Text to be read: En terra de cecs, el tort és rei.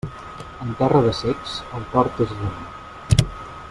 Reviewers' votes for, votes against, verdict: 2, 0, accepted